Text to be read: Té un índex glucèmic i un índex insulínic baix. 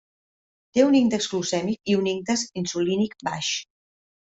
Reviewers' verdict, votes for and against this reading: accepted, 3, 0